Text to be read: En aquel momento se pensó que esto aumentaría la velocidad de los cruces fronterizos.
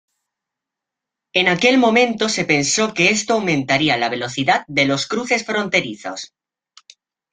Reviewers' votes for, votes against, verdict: 2, 0, accepted